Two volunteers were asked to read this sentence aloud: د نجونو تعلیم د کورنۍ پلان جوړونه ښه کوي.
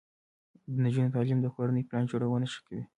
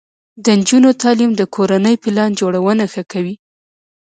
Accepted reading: first